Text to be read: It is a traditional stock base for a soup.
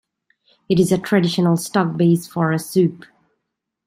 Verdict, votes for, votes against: accepted, 2, 0